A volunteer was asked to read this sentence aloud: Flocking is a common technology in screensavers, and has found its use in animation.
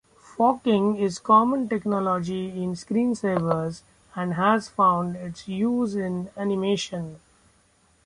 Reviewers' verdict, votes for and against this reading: rejected, 1, 2